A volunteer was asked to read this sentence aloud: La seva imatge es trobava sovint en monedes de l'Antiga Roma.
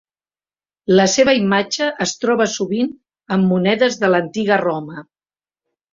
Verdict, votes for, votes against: rejected, 1, 2